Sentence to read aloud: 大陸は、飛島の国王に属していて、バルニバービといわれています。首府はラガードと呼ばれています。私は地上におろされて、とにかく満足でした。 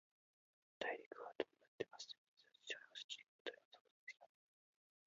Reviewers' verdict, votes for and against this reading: rejected, 0, 2